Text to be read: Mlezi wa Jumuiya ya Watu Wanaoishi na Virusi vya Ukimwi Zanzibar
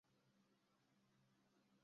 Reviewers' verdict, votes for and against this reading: rejected, 0, 2